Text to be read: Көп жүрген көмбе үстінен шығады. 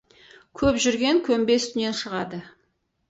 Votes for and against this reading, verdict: 4, 0, accepted